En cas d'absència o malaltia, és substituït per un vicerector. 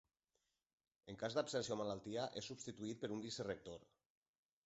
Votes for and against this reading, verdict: 0, 2, rejected